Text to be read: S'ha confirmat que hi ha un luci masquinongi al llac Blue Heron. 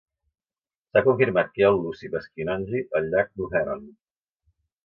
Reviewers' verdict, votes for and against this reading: rejected, 0, 2